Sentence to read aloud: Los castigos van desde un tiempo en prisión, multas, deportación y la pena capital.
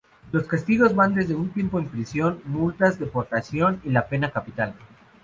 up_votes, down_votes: 2, 0